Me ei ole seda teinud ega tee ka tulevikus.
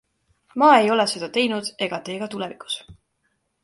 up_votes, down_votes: 1, 2